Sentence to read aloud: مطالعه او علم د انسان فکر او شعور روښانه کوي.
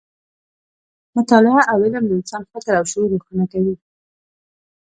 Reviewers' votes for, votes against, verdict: 1, 2, rejected